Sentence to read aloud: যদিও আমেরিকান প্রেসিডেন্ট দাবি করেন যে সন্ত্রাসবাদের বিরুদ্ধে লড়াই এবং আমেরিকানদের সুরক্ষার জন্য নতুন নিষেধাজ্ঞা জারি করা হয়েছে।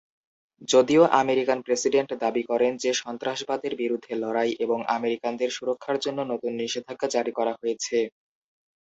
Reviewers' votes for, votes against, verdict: 5, 0, accepted